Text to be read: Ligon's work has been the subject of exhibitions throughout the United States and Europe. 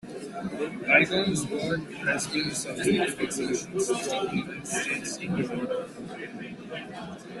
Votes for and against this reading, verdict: 0, 2, rejected